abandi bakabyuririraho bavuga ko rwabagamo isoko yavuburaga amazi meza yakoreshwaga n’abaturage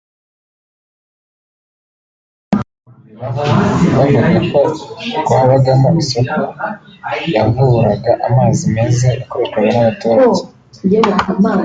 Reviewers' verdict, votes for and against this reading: rejected, 0, 2